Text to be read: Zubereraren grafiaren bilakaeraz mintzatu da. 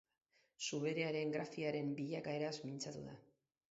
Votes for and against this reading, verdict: 4, 0, accepted